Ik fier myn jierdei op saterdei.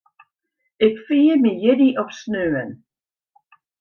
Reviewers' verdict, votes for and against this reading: accepted, 2, 1